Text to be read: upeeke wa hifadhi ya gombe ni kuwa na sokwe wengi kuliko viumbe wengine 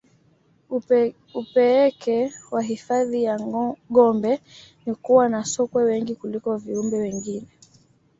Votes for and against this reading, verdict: 2, 1, accepted